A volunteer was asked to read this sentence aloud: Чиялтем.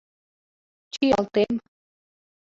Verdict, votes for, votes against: accepted, 2, 1